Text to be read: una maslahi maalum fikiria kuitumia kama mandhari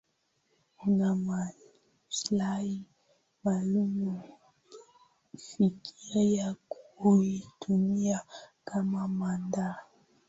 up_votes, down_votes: 2, 0